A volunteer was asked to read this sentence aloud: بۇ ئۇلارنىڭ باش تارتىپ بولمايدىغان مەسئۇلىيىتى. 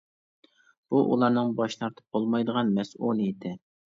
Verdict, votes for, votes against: accepted, 2, 0